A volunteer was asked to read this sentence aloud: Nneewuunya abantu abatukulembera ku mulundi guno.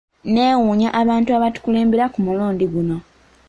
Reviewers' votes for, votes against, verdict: 2, 0, accepted